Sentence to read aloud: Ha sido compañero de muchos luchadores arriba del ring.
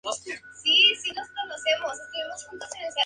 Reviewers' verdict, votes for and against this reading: rejected, 0, 2